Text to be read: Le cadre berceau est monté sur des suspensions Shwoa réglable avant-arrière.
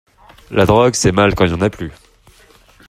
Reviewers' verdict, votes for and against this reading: rejected, 0, 2